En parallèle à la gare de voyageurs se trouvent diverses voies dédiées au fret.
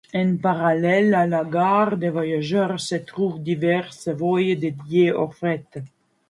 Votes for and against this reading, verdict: 2, 1, accepted